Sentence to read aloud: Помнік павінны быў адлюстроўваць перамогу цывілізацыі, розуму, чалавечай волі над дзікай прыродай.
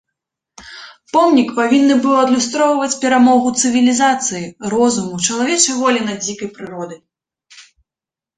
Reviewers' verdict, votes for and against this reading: accepted, 2, 0